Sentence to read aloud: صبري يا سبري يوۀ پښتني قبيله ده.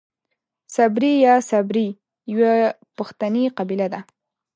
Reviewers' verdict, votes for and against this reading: rejected, 0, 2